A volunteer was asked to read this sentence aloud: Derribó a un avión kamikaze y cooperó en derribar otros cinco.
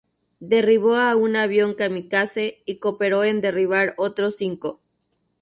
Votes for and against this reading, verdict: 0, 2, rejected